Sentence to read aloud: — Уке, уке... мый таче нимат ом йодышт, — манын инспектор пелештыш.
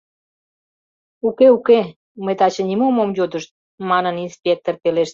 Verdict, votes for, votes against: rejected, 0, 2